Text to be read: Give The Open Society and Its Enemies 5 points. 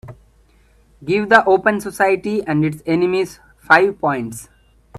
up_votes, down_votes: 0, 2